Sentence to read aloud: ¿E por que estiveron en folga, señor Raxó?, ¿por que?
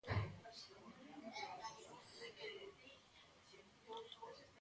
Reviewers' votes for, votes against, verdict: 0, 2, rejected